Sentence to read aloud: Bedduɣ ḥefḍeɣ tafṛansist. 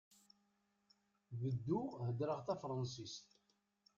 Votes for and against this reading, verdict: 1, 2, rejected